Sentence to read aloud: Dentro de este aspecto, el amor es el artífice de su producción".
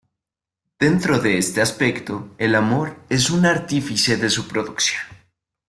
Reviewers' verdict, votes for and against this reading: rejected, 0, 2